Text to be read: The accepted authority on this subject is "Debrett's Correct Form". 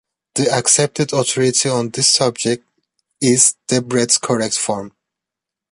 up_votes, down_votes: 2, 1